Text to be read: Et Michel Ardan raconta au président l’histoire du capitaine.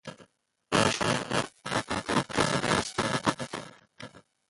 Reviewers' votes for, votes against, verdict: 0, 2, rejected